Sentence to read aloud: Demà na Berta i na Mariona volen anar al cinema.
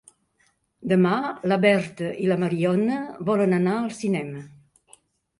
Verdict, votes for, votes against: rejected, 0, 2